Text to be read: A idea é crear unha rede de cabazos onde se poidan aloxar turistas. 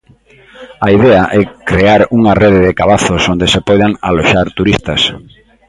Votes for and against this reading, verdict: 2, 0, accepted